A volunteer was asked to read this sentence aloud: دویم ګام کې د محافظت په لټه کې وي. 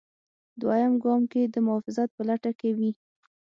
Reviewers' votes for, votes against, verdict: 9, 0, accepted